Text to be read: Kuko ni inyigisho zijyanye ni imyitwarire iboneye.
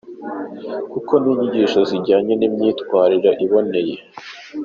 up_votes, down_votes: 2, 0